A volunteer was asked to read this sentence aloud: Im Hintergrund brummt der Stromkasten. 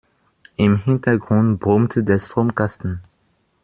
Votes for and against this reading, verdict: 0, 2, rejected